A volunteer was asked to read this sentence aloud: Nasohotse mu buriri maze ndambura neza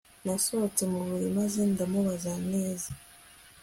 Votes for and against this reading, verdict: 2, 1, accepted